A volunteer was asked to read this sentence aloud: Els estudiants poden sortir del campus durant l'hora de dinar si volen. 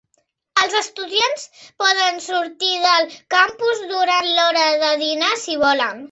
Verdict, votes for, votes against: accepted, 4, 0